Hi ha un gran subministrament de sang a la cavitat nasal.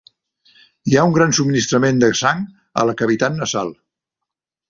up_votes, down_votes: 4, 0